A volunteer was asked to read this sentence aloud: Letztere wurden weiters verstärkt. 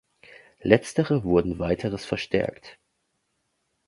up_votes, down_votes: 0, 2